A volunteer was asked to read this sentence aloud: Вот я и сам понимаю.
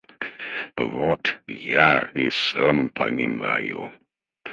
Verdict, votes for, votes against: rejected, 2, 2